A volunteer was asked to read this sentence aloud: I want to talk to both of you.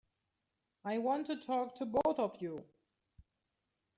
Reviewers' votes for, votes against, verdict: 2, 0, accepted